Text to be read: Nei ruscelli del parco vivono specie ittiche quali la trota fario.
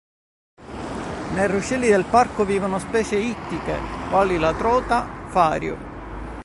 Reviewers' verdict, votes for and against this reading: rejected, 0, 2